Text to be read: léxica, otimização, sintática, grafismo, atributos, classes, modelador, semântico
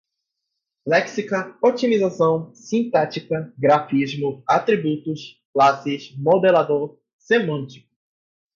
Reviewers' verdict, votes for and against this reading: accepted, 4, 0